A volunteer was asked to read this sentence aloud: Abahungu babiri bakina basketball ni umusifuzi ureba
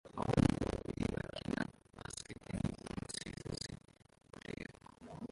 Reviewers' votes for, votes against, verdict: 0, 2, rejected